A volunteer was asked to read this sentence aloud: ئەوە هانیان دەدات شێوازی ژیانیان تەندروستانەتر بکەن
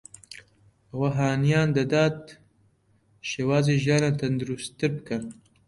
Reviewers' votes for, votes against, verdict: 2, 0, accepted